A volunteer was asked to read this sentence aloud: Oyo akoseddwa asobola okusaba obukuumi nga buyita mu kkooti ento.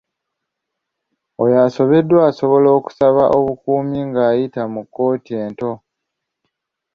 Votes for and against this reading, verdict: 1, 2, rejected